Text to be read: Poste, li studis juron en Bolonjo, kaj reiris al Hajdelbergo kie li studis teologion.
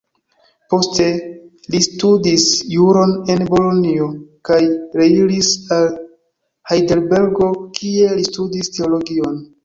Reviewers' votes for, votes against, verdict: 1, 2, rejected